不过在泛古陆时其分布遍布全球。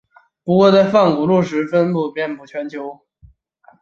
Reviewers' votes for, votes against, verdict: 2, 0, accepted